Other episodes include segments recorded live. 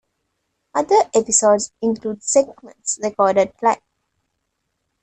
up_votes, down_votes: 2, 0